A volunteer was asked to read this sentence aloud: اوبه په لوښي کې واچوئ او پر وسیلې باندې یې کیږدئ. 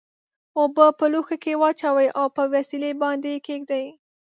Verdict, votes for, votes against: accepted, 2, 0